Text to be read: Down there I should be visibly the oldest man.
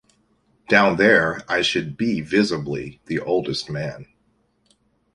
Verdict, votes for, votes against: accepted, 2, 0